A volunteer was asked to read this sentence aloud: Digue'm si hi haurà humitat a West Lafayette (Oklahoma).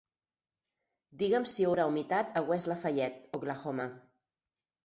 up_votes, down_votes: 6, 0